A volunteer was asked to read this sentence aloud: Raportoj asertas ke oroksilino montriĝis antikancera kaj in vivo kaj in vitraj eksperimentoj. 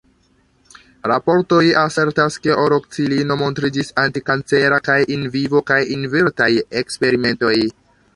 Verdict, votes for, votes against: accepted, 2, 0